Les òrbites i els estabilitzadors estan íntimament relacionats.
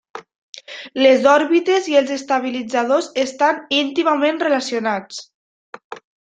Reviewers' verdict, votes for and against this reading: accepted, 3, 1